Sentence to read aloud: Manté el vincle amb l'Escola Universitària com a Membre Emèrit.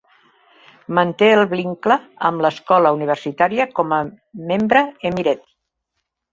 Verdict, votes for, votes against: rejected, 0, 2